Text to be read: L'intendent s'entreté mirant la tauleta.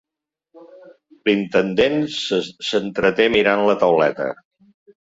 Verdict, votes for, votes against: rejected, 0, 2